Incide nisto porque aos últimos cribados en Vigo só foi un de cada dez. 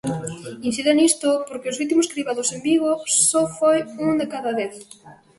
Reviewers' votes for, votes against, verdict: 1, 2, rejected